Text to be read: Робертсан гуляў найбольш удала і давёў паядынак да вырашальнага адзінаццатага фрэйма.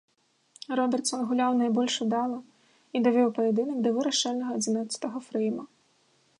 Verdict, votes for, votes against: rejected, 1, 2